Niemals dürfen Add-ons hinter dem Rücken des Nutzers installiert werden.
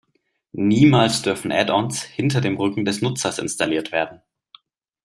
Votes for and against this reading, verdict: 2, 0, accepted